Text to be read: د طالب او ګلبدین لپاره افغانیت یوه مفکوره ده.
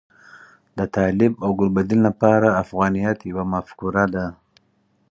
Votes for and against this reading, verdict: 4, 0, accepted